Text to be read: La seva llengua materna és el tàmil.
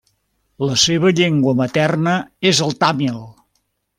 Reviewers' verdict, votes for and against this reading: accepted, 2, 0